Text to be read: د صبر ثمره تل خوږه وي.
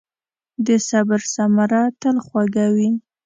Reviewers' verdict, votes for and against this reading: accepted, 2, 0